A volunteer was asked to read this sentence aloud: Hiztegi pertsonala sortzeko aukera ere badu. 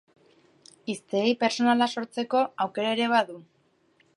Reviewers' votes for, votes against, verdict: 2, 0, accepted